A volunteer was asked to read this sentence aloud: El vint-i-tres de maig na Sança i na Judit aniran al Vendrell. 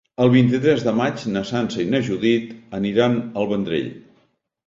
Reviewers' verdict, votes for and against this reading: accepted, 2, 0